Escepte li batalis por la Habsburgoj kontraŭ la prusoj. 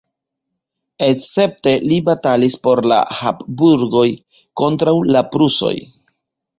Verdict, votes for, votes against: rejected, 0, 2